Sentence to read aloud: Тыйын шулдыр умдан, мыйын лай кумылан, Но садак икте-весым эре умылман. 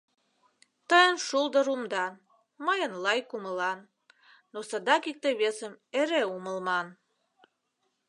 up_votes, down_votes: 0, 2